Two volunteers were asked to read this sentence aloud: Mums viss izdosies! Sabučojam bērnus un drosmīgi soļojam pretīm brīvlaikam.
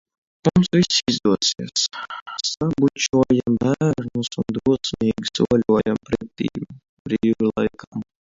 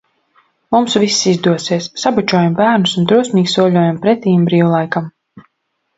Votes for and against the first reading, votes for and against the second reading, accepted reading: 0, 2, 2, 0, second